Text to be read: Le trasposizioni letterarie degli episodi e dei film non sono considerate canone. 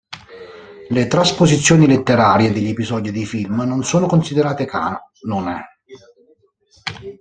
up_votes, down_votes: 1, 2